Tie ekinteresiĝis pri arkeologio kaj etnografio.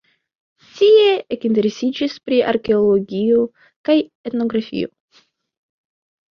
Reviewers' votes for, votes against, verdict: 3, 1, accepted